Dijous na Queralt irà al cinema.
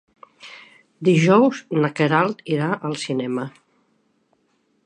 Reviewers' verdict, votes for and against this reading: accepted, 2, 0